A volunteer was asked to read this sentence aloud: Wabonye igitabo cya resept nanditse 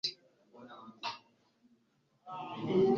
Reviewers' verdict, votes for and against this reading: rejected, 1, 2